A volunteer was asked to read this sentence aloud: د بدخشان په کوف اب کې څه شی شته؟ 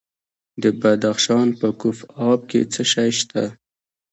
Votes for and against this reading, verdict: 3, 0, accepted